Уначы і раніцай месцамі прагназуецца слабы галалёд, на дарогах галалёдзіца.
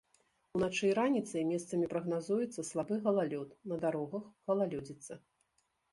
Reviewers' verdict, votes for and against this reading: rejected, 1, 2